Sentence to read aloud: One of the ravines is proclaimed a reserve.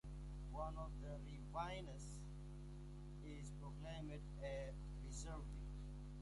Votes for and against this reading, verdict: 1, 2, rejected